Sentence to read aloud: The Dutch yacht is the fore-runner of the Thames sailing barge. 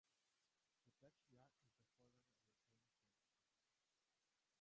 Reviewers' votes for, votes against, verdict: 0, 3, rejected